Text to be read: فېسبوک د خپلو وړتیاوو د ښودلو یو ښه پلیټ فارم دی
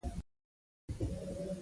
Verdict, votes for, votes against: accepted, 2, 0